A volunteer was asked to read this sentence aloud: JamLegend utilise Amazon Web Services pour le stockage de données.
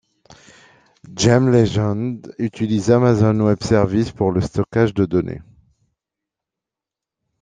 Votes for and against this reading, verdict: 2, 0, accepted